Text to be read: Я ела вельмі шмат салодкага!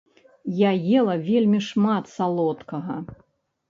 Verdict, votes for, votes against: accepted, 2, 0